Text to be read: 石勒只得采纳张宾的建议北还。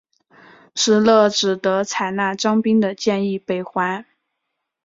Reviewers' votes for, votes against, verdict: 5, 0, accepted